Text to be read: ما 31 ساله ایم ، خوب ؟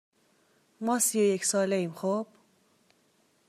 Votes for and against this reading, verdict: 0, 2, rejected